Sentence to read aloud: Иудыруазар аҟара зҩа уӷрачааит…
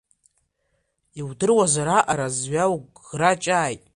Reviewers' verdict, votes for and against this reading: accepted, 2, 1